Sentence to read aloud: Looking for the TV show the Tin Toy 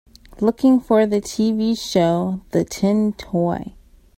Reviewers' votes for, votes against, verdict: 2, 0, accepted